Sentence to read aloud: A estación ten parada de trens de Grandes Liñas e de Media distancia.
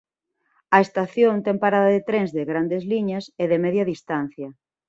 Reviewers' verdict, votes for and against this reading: accepted, 2, 0